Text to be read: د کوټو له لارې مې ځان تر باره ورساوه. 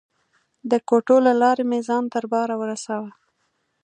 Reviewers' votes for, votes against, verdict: 2, 0, accepted